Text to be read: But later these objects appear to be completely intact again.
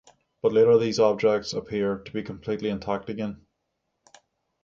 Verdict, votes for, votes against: accepted, 6, 0